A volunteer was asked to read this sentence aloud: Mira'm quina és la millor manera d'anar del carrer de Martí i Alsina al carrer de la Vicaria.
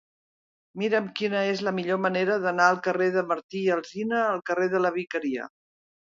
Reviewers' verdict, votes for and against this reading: accepted, 2, 0